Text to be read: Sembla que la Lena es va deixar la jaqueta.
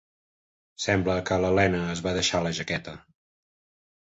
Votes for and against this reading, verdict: 3, 0, accepted